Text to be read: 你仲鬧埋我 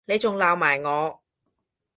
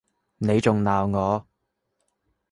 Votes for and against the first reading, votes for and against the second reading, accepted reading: 3, 0, 0, 2, first